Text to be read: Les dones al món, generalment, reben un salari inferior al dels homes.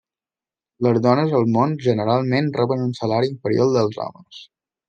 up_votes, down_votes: 2, 0